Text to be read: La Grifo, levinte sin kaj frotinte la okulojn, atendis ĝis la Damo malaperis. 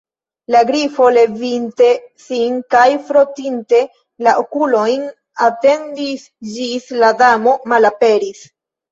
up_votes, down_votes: 1, 2